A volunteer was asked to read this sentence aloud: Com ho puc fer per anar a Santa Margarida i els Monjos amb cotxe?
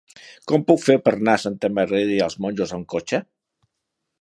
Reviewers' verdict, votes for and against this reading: rejected, 0, 2